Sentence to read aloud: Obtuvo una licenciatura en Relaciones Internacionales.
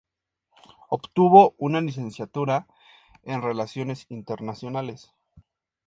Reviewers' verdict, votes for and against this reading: accepted, 2, 0